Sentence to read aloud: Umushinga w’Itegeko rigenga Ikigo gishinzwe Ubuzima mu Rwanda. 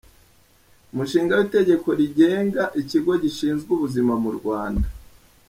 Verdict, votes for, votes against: accepted, 2, 0